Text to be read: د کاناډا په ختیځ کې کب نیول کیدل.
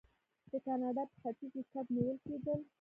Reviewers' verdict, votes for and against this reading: rejected, 0, 2